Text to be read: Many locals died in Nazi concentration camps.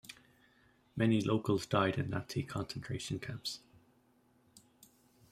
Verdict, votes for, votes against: rejected, 1, 2